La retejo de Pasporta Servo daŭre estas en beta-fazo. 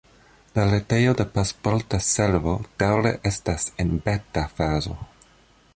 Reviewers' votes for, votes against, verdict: 1, 2, rejected